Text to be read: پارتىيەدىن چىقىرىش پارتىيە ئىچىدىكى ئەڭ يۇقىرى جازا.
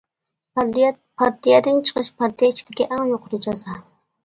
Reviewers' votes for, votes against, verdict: 0, 2, rejected